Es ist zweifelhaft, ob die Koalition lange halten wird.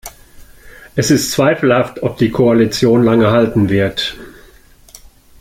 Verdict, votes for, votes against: accepted, 2, 0